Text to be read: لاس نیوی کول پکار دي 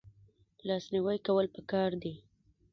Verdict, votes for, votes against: rejected, 0, 2